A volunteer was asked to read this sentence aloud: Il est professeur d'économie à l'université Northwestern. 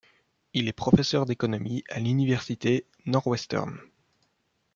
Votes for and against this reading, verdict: 2, 1, accepted